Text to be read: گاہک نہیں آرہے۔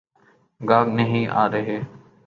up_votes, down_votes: 2, 1